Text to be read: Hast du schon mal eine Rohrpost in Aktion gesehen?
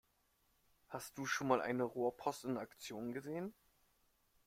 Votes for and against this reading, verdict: 1, 2, rejected